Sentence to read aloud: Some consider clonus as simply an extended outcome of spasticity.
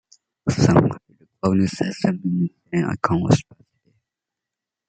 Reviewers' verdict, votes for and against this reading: rejected, 0, 2